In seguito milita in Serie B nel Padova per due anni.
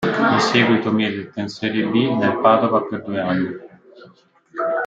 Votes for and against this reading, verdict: 1, 2, rejected